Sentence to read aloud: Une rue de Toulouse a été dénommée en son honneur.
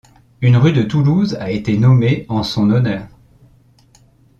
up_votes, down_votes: 1, 2